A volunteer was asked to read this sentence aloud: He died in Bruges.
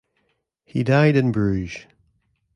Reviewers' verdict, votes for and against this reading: accepted, 2, 0